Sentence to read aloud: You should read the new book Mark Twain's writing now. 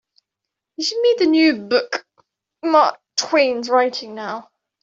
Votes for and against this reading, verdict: 2, 1, accepted